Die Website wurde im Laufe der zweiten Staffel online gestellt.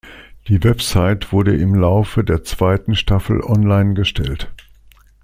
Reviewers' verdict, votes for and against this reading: accepted, 2, 0